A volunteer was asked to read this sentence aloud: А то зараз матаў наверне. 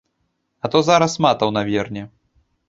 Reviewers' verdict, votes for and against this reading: accepted, 2, 0